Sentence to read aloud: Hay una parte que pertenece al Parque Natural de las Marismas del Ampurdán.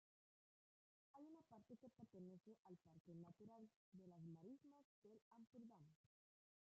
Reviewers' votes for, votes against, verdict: 0, 2, rejected